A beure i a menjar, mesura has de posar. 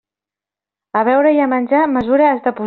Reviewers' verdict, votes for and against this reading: rejected, 0, 2